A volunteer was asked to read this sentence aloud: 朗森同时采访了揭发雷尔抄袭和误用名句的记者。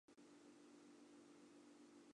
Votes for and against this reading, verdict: 3, 4, rejected